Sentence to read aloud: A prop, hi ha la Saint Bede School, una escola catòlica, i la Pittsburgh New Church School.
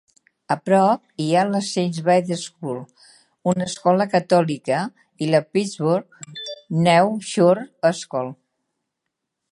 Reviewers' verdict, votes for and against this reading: rejected, 1, 2